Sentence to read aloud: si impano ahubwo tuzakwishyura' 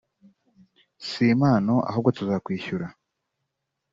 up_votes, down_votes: 2, 0